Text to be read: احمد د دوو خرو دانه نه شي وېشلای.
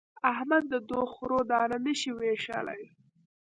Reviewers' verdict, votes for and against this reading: rejected, 1, 2